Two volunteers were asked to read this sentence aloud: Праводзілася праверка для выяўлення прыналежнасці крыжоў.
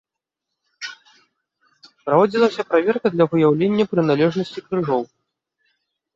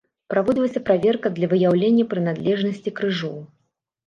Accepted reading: first